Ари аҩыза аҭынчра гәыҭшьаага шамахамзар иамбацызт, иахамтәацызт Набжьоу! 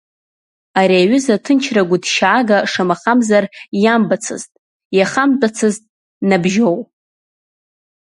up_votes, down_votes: 2, 1